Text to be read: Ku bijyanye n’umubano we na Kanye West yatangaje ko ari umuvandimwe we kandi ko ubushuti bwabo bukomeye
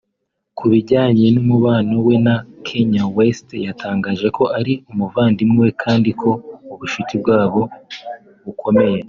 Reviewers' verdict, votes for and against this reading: accepted, 2, 0